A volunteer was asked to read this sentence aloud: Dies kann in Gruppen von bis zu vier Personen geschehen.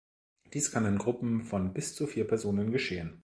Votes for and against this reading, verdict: 2, 0, accepted